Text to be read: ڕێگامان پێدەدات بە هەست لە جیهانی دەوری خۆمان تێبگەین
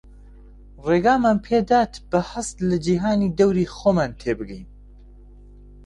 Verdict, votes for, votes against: rejected, 1, 2